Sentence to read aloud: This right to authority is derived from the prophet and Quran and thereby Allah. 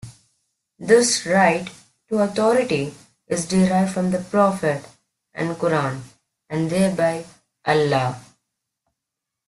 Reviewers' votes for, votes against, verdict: 2, 0, accepted